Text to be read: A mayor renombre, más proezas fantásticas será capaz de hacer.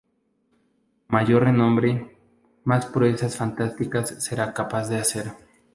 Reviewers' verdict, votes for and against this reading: rejected, 0, 2